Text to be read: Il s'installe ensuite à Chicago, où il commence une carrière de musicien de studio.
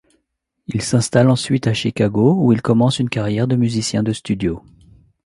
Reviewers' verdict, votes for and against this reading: accepted, 2, 0